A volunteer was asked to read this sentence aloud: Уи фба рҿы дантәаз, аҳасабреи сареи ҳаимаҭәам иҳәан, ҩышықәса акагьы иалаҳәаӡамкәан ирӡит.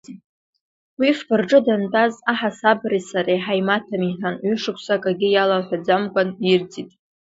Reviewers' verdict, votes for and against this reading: accepted, 2, 0